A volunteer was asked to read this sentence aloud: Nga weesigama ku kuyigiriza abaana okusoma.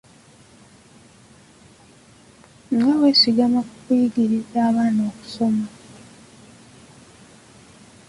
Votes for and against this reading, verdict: 0, 2, rejected